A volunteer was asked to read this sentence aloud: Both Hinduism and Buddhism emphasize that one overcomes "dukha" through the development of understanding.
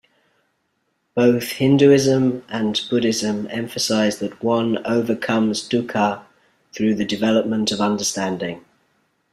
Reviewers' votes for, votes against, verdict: 2, 0, accepted